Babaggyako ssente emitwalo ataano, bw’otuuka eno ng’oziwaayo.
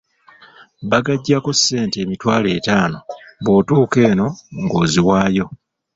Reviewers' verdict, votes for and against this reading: rejected, 0, 2